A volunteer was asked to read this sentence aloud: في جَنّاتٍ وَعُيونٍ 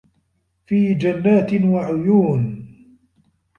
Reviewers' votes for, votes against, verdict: 3, 0, accepted